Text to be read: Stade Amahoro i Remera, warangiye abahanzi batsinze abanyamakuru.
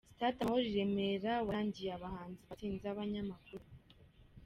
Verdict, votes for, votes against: rejected, 0, 2